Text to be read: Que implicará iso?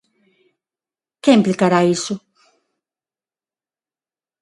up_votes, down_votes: 6, 0